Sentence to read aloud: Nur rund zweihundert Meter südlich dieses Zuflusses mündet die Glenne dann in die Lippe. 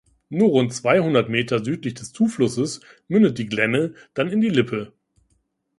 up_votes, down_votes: 1, 2